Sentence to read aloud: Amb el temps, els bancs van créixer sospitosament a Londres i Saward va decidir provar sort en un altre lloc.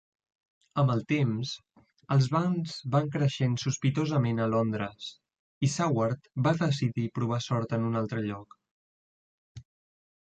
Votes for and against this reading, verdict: 1, 2, rejected